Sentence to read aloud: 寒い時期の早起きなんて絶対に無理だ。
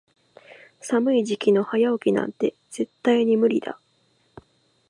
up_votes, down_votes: 2, 0